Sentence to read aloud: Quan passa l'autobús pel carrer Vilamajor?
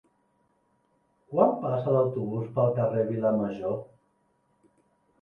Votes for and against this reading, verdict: 3, 0, accepted